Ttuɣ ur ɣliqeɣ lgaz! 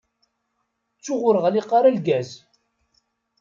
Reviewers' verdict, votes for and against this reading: rejected, 0, 2